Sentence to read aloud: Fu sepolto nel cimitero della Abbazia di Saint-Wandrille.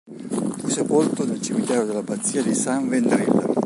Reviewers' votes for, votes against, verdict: 1, 2, rejected